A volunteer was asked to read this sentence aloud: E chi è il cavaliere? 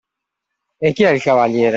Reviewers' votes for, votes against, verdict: 2, 0, accepted